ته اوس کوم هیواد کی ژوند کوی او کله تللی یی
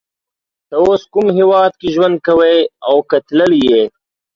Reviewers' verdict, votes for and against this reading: rejected, 0, 2